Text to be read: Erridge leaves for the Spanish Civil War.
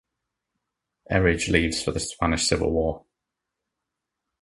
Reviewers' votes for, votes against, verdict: 2, 0, accepted